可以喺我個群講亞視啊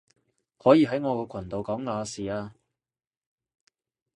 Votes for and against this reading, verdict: 0, 2, rejected